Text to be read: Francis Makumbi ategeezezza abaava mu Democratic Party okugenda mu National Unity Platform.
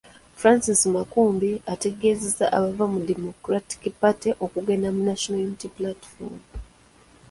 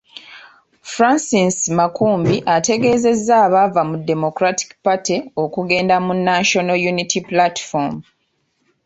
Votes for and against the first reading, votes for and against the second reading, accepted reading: 0, 2, 2, 0, second